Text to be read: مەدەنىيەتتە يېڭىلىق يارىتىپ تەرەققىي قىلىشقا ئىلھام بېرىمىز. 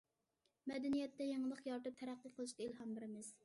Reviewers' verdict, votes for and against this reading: accepted, 2, 0